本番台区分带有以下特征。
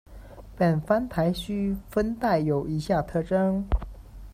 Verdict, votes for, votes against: accepted, 2, 0